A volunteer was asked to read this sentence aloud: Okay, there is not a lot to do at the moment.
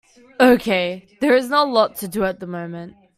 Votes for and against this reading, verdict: 2, 0, accepted